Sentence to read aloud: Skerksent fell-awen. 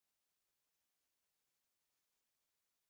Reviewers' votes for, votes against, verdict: 0, 2, rejected